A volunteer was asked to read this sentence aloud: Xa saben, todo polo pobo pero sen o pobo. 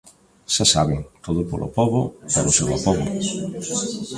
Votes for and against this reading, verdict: 0, 2, rejected